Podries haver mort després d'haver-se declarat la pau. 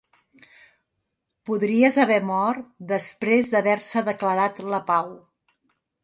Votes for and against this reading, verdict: 3, 0, accepted